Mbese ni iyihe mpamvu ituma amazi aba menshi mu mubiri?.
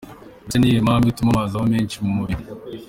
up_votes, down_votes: 2, 0